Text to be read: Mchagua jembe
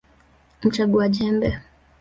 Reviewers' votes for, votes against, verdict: 3, 1, accepted